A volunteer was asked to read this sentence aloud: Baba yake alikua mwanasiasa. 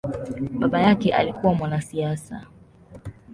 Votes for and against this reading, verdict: 2, 0, accepted